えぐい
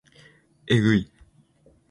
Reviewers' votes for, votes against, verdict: 2, 0, accepted